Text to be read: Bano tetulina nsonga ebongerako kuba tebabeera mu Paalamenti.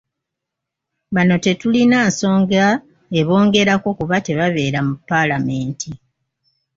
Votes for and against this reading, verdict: 2, 0, accepted